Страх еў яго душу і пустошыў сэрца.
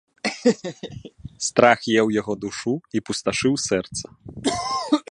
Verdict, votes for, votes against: rejected, 1, 2